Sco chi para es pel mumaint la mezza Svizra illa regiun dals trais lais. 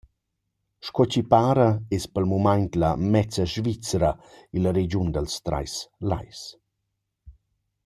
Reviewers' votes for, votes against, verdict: 2, 0, accepted